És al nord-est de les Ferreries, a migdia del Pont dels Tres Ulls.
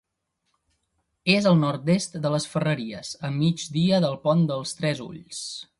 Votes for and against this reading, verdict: 2, 0, accepted